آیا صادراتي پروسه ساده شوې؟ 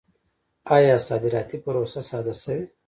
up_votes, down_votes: 1, 2